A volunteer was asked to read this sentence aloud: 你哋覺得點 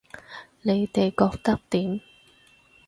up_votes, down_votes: 4, 0